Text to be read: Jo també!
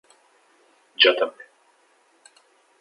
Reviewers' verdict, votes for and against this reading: accepted, 3, 0